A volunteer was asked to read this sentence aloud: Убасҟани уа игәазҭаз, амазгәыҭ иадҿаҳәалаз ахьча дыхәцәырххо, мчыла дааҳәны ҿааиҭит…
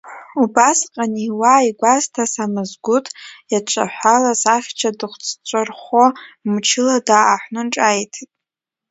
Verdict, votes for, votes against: rejected, 1, 2